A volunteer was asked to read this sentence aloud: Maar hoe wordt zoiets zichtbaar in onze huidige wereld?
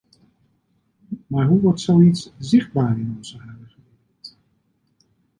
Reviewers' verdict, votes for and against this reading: rejected, 1, 2